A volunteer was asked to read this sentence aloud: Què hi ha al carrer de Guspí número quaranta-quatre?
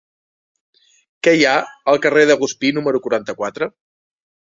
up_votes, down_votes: 2, 0